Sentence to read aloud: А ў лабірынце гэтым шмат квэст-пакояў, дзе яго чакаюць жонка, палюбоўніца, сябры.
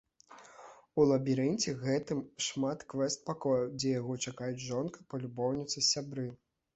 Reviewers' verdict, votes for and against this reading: rejected, 1, 2